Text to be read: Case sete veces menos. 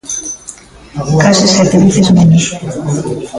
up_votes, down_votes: 1, 2